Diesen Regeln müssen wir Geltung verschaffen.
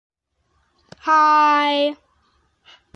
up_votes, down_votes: 0, 2